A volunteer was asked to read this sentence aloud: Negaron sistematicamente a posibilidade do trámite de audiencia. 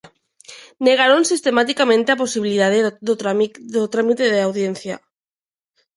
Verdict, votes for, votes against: rejected, 0, 2